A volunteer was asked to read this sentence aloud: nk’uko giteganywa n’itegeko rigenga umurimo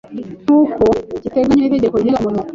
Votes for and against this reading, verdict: 0, 2, rejected